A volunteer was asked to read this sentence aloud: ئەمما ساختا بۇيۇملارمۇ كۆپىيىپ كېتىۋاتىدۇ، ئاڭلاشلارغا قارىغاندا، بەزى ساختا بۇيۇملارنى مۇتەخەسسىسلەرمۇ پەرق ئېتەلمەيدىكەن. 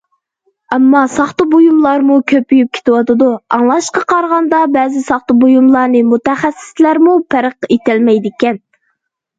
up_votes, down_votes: 0, 2